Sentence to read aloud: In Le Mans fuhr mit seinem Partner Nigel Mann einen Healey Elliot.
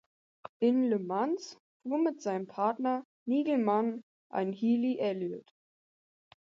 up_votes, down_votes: 2, 4